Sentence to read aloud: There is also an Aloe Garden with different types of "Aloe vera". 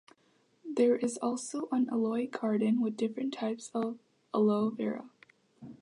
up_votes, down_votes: 2, 1